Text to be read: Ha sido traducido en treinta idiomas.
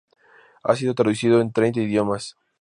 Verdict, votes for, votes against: rejected, 0, 2